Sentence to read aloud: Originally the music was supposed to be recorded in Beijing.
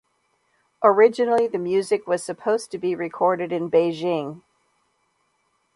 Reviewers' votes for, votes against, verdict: 2, 0, accepted